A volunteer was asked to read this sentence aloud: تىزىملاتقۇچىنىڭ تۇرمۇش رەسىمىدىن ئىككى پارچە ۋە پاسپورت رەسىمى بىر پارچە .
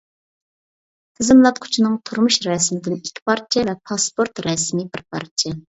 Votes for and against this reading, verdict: 2, 0, accepted